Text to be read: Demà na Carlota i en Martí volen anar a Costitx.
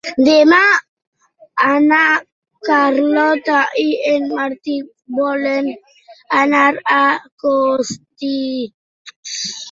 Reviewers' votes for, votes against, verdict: 1, 2, rejected